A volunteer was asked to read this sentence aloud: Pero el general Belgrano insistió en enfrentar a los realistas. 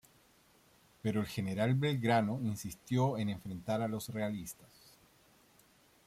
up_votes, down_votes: 2, 0